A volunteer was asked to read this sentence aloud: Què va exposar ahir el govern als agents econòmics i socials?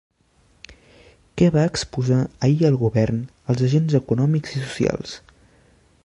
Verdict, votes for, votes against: rejected, 0, 2